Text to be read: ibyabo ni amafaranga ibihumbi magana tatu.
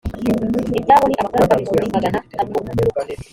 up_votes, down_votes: 1, 2